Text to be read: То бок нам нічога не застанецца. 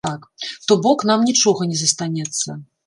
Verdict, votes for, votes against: rejected, 1, 2